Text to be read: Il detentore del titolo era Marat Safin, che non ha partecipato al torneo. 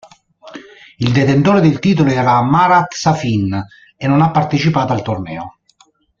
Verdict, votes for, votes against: rejected, 0, 2